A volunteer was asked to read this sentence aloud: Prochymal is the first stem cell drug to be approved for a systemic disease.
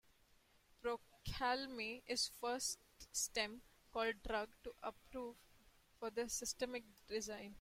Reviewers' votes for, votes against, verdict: 0, 2, rejected